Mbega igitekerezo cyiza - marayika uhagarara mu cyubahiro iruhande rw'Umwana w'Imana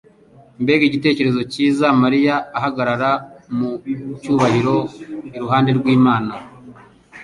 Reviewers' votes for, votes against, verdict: 1, 2, rejected